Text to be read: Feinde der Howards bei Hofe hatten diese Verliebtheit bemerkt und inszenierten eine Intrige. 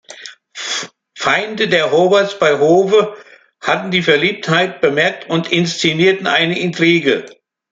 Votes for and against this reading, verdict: 0, 2, rejected